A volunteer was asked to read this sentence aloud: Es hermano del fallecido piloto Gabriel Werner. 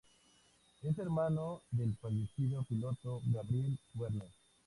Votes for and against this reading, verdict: 2, 0, accepted